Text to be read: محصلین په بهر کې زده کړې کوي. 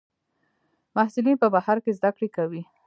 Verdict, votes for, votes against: rejected, 1, 2